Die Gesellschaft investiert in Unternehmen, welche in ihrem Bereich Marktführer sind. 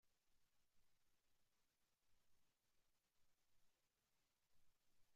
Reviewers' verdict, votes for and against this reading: rejected, 0, 2